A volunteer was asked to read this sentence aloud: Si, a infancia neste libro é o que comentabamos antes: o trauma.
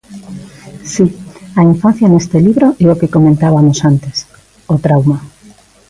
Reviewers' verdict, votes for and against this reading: rejected, 0, 2